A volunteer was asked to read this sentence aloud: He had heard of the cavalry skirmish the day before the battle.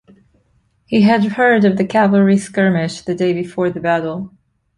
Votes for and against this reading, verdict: 2, 0, accepted